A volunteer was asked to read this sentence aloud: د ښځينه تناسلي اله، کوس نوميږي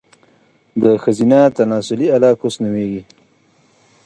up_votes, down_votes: 2, 1